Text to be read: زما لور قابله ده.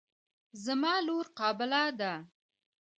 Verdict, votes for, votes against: accepted, 2, 0